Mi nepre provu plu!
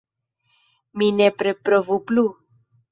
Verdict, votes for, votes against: rejected, 0, 2